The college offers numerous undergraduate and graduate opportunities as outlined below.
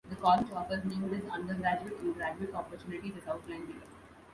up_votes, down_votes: 0, 2